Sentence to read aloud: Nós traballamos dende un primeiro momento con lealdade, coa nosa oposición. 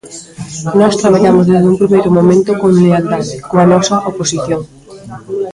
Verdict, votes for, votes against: rejected, 1, 2